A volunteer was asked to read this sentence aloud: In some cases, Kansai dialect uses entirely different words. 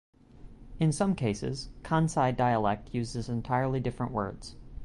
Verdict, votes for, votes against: accepted, 2, 0